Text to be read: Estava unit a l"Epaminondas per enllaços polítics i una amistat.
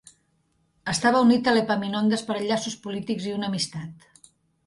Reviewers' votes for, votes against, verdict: 2, 0, accepted